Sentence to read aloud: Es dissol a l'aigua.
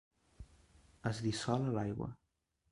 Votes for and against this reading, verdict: 1, 2, rejected